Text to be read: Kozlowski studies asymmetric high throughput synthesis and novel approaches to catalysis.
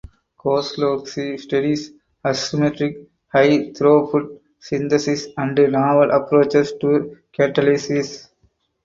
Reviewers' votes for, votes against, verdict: 4, 2, accepted